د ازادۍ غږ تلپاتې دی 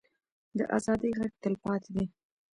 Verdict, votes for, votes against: rejected, 1, 2